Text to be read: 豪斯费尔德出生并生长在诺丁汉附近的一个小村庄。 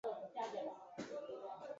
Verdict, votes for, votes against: rejected, 1, 2